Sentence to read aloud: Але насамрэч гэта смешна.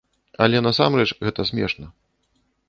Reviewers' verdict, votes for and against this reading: accepted, 2, 0